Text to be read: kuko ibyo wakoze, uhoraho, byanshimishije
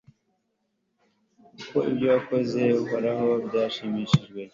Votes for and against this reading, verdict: 2, 0, accepted